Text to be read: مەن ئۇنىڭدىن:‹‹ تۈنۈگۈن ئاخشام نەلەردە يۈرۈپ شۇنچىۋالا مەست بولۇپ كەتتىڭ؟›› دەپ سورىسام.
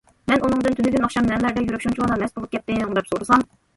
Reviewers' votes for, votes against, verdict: 1, 2, rejected